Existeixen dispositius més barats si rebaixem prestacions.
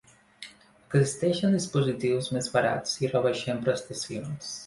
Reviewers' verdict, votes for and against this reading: rejected, 0, 2